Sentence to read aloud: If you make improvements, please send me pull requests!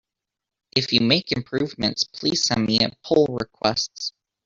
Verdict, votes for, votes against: rejected, 0, 2